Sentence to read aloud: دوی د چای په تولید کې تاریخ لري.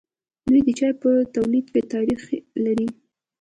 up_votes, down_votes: 2, 0